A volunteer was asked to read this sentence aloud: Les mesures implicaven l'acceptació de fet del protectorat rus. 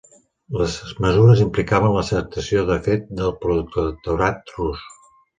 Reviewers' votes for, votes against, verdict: 1, 4, rejected